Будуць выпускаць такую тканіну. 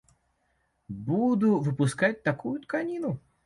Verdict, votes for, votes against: rejected, 1, 2